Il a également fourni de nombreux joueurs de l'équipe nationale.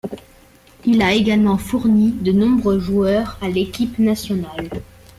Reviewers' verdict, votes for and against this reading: rejected, 1, 2